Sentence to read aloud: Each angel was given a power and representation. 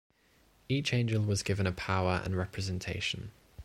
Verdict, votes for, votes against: accepted, 2, 0